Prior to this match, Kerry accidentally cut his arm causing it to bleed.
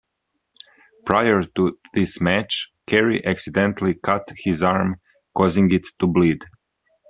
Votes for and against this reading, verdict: 2, 0, accepted